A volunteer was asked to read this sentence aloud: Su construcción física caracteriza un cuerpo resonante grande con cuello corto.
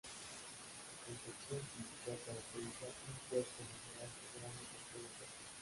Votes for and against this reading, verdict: 0, 2, rejected